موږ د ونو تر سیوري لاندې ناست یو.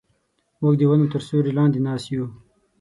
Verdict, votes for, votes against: accepted, 18, 0